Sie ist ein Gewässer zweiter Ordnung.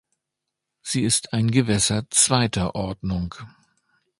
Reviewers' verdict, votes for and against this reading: accepted, 2, 0